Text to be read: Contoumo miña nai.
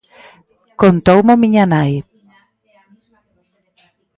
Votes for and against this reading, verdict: 1, 2, rejected